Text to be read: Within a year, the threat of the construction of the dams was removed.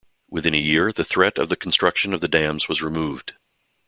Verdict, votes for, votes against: accepted, 2, 0